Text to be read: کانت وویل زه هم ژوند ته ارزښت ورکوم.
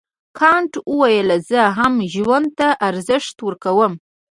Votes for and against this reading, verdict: 3, 1, accepted